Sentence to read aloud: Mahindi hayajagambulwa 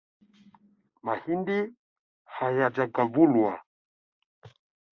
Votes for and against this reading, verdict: 1, 2, rejected